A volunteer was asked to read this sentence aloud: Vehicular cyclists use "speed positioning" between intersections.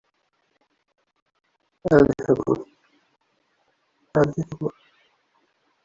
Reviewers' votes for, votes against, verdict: 0, 2, rejected